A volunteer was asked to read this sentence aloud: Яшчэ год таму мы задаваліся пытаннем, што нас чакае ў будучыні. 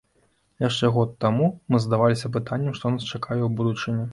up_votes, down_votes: 2, 0